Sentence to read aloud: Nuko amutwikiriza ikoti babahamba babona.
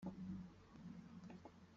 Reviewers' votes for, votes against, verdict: 0, 2, rejected